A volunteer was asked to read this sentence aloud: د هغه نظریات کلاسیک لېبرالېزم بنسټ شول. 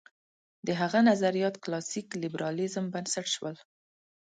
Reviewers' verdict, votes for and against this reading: accepted, 2, 0